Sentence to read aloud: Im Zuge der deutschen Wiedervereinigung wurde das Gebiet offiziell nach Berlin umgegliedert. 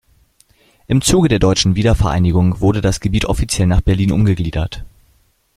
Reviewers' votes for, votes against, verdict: 2, 0, accepted